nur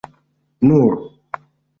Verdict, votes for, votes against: accepted, 2, 0